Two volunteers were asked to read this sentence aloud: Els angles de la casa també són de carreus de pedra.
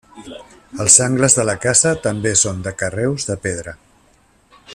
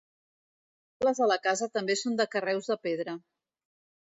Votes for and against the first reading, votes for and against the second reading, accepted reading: 3, 0, 1, 2, first